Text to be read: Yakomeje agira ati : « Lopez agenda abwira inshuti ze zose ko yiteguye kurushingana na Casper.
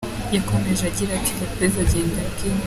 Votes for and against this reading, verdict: 0, 3, rejected